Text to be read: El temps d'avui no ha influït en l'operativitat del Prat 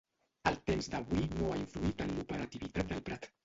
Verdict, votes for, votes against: rejected, 1, 2